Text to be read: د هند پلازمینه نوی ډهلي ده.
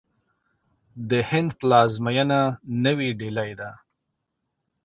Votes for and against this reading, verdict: 0, 2, rejected